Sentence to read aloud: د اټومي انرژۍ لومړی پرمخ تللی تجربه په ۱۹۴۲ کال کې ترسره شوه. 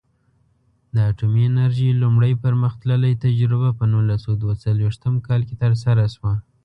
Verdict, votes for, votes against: rejected, 0, 2